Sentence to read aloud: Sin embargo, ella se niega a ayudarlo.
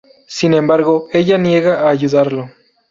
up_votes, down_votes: 0, 2